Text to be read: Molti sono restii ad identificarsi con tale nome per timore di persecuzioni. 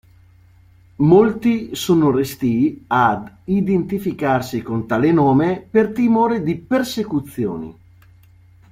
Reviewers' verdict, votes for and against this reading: accepted, 2, 0